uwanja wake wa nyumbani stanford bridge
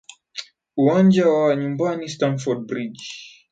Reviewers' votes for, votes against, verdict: 0, 2, rejected